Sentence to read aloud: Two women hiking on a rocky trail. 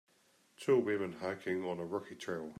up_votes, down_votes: 2, 0